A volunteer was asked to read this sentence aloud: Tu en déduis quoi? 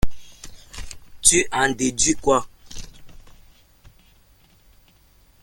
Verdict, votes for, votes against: accepted, 2, 1